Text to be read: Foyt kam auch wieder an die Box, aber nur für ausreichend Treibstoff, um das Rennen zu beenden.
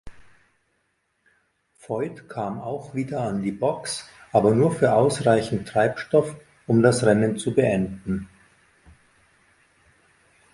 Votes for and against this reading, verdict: 2, 0, accepted